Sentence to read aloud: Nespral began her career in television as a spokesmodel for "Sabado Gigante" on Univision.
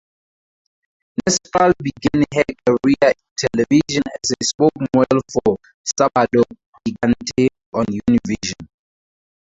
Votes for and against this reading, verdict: 2, 2, rejected